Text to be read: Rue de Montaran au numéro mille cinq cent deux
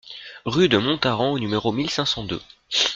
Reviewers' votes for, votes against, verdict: 1, 2, rejected